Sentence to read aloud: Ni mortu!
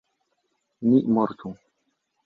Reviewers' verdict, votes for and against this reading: accepted, 2, 0